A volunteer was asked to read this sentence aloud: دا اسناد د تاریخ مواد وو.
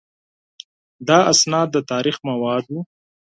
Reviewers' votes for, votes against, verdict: 4, 0, accepted